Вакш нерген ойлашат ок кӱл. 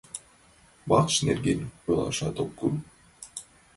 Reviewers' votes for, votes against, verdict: 2, 0, accepted